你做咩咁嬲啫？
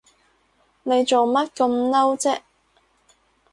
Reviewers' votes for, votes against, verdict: 2, 2, rejected